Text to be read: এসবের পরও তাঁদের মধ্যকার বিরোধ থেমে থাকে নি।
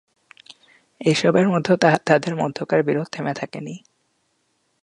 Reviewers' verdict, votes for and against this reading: rejected, 1, 3